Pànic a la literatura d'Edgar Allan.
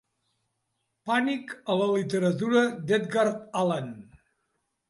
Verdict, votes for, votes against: accepted, 2, 0